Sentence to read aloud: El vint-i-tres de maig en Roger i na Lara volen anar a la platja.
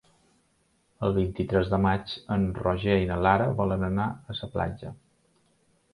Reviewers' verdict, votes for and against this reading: rejected, 0, 2